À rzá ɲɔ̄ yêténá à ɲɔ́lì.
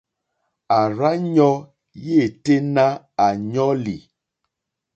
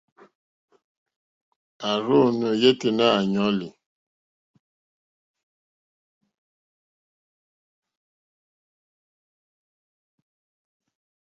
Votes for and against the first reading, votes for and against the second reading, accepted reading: 2, 0, 1, 2, first